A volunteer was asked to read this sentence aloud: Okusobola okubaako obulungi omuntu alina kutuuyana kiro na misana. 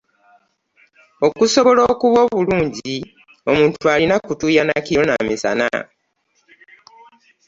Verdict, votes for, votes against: rejected, 0, 2